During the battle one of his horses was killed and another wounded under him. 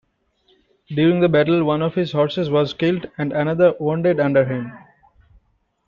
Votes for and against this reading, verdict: 2, 1, accepted